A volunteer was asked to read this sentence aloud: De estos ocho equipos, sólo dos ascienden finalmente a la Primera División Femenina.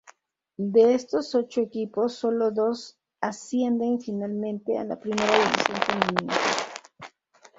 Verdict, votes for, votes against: accepted, 2, 0